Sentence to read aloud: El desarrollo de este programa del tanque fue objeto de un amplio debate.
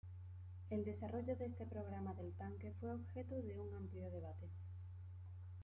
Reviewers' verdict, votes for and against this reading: rejected, 1, 2